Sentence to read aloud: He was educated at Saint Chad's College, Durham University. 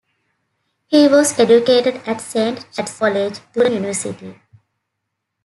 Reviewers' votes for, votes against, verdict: 0, 2, rejected